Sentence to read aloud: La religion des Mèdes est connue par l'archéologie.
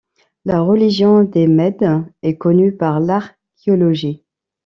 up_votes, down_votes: 1, 2